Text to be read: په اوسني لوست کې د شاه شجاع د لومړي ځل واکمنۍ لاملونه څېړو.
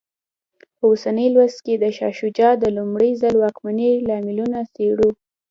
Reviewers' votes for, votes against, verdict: 2, 0, accepted